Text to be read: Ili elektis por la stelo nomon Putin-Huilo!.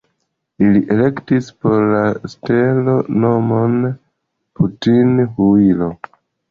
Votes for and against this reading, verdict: 2, 0, accepted